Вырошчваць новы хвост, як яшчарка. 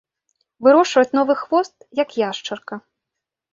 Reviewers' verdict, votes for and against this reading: accepted, 2, 0